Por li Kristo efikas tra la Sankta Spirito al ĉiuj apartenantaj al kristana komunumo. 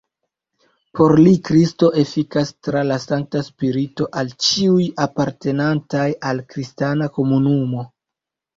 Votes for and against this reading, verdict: 1, 2, rejected